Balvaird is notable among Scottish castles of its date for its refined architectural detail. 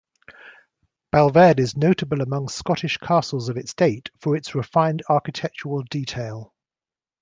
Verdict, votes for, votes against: accepted, 2, 0